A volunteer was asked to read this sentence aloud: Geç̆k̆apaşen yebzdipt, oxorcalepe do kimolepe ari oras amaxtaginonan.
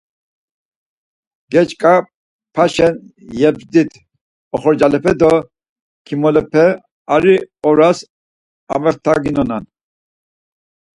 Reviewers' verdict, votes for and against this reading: accepted, 4, 0